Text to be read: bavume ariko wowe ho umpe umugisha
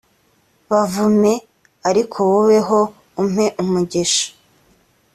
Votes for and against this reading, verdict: 2, 0, accepted